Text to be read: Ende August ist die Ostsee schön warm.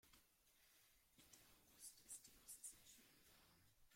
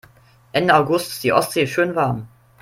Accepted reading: second